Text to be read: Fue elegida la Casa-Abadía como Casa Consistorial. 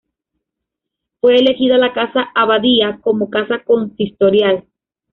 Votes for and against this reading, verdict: 2, 0, accepted